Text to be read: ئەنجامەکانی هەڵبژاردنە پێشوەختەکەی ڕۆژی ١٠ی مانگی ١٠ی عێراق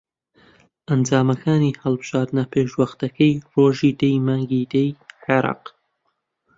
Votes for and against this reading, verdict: 0, 2, rejected